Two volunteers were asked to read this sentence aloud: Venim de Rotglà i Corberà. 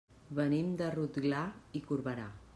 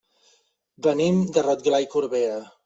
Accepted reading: first